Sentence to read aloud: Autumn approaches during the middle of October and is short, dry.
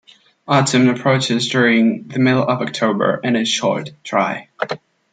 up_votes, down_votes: 2, 0